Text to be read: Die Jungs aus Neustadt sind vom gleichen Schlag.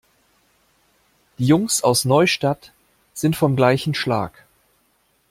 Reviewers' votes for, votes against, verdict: 1, 2, rejected